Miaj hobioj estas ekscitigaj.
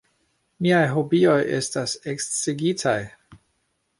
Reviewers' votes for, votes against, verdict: 0, 2, rejected